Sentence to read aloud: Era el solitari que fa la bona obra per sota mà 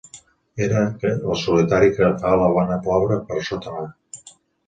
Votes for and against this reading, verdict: 1, 2, rejected